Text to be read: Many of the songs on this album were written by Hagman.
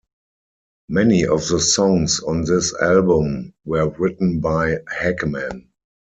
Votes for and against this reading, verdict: 6, 0, accepted